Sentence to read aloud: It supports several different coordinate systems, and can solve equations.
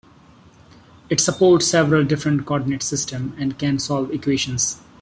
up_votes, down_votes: 2, 0